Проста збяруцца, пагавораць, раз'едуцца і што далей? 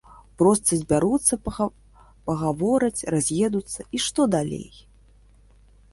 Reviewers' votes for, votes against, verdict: 1, 2, rejected